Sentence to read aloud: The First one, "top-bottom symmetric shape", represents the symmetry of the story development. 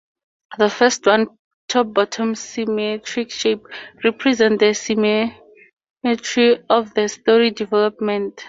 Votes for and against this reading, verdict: 0, 4, rejected